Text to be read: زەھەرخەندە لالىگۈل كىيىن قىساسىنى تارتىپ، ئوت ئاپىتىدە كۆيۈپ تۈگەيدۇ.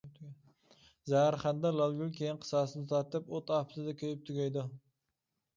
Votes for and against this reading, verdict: 0, 2, rejected